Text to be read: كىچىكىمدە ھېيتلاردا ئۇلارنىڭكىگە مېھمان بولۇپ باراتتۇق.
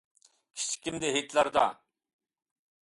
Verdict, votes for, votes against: rejected, 0, 2